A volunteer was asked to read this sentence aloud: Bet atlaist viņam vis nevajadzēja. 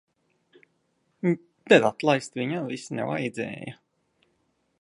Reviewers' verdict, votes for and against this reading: rejected, 0, 2